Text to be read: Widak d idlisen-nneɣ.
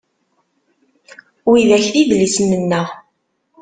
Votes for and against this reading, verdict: 2, 0, accepted